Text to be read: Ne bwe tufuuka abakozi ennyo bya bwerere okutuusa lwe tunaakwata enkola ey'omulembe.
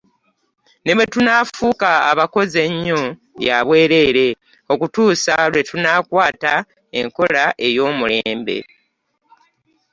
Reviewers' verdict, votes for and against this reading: accepted, 2, 0